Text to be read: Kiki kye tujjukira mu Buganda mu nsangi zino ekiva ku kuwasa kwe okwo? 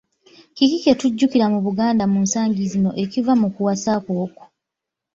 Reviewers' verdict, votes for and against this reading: rejected, 1, 2